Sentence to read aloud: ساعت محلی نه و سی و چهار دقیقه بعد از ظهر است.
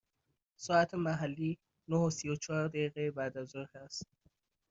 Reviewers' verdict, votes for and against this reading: accepted, 2, 0